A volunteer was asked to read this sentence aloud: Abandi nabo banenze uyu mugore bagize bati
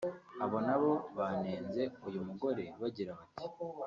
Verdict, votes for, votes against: rejected, 1, 2